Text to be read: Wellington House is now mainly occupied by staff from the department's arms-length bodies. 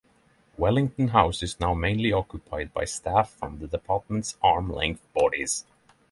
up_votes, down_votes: 0, 3